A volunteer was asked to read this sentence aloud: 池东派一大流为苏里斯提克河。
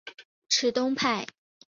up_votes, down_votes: 0, 2